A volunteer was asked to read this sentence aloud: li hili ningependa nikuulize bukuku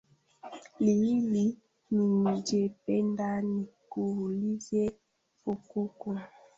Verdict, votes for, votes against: rejected, 0, 2